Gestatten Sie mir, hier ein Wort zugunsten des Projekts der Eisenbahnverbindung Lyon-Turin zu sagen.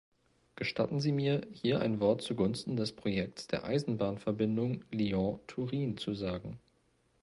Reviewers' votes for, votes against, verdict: 2, 0, accepted